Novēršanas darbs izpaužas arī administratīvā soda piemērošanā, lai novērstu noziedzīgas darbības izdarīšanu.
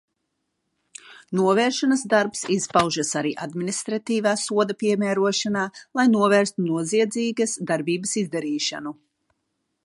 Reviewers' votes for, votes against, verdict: 2, 1, accepted